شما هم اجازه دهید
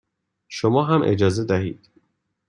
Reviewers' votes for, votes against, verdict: 2, 0, accepted